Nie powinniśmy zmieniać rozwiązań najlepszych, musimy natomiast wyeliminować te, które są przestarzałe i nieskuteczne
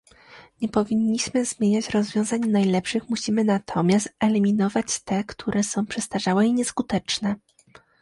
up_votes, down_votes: 1, 2